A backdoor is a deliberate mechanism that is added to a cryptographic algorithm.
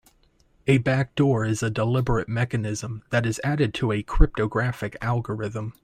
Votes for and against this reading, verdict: 2, 0, accepted